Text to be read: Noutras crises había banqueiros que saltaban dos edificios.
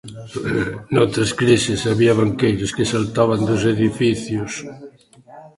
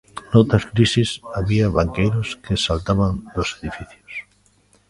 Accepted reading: second